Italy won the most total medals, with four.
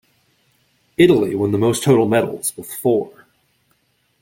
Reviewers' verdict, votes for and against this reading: accepted, 2, 0